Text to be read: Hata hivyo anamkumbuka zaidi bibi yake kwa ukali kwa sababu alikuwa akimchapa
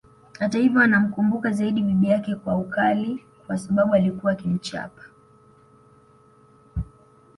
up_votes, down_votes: 1, 2